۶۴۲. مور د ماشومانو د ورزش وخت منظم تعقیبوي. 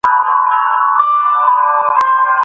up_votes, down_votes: 0, 2